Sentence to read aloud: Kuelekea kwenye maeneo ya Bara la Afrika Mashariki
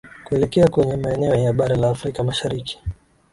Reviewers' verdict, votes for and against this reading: accepted, 6, 4